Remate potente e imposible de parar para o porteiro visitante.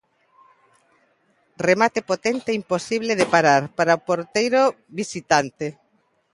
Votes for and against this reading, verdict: 2, 0, accepted